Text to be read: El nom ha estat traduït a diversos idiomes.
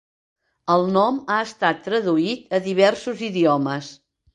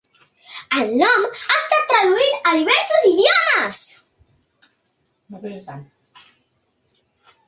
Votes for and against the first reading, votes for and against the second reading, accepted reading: 2, 0, 1, 2, first